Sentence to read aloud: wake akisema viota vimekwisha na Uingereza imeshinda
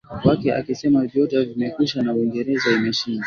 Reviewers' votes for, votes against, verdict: 2, 0, accepted